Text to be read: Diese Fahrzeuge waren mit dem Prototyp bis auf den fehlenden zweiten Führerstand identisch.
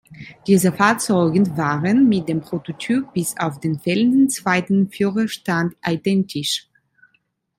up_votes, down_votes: 2, 1